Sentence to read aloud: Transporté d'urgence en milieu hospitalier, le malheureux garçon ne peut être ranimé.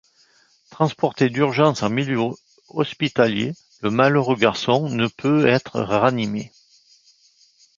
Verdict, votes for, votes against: rejected, 1, 2